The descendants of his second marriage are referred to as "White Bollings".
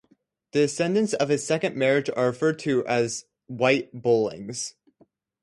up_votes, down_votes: 2, 0